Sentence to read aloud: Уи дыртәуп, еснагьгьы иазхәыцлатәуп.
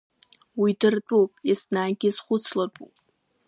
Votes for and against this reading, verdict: 0, 2, rejected